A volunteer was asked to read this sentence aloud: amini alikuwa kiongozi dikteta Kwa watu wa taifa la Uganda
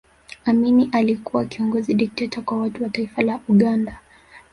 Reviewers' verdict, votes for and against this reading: rejected, 1, 2